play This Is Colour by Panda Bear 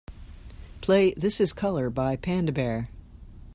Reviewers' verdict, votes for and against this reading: accepted, 2, 0